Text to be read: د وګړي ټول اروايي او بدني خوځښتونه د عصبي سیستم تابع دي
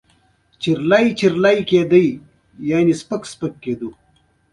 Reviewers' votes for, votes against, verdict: 0, 2, rejected